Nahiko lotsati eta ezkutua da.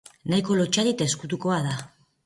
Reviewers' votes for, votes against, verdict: 2, 1, accepted